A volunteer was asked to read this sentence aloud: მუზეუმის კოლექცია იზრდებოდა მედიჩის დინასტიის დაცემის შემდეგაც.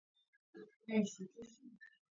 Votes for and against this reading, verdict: 0, 2, rejected